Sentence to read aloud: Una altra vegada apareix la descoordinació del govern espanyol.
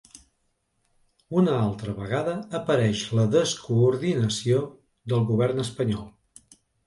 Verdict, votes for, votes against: accepted, 2, 0